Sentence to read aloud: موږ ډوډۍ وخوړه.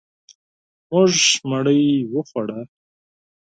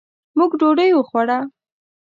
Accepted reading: second